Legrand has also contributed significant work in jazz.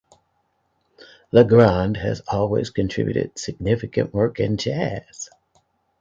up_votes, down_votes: 0, 2